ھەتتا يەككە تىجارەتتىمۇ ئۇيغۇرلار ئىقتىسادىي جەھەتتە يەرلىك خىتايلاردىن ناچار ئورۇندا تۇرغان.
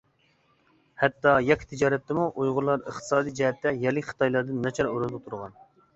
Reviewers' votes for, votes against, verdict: 2, 0, accepted